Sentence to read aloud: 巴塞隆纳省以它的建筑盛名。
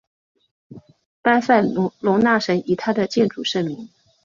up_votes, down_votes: 1, 2